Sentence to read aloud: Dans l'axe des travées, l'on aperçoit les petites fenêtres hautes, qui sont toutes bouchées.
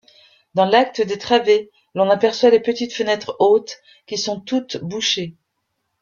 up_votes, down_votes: 1, 2